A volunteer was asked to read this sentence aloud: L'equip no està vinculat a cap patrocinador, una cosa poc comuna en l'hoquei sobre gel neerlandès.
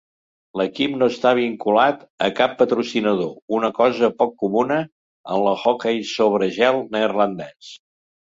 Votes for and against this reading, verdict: 0, 2, rejected